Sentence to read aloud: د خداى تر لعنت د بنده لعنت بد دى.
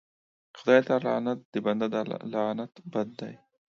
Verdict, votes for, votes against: rejected, 0, 2